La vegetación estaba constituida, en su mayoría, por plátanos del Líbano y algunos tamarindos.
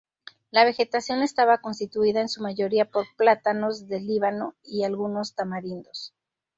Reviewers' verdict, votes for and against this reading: accepted, 2, 0